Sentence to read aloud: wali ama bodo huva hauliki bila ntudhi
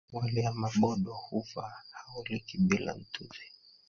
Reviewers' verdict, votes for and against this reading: rejected, 0, 2